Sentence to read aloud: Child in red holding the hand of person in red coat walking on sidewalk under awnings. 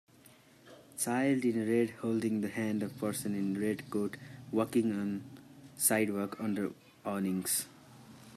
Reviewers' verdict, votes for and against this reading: rejected, 1, 2